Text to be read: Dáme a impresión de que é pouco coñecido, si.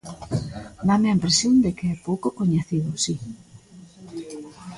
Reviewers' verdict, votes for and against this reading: rejected, 1, 2